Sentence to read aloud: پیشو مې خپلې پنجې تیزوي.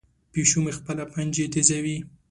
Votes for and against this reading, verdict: 2, 0, accepted